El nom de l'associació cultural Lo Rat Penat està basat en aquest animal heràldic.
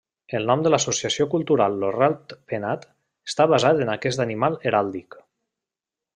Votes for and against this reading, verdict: 2, 0, accepted